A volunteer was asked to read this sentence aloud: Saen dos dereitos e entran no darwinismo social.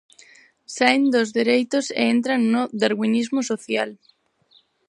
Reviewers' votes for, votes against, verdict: 4, 0, accepted